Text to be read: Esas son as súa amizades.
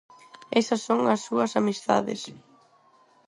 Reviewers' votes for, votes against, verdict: 0, 2, rejected